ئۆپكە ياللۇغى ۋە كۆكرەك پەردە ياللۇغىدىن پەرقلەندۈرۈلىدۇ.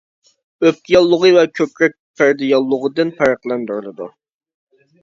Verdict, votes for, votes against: accepted, 2, 0